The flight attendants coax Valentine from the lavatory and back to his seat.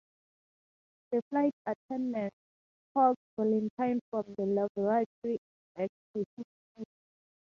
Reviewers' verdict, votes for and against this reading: rejected, 0, 2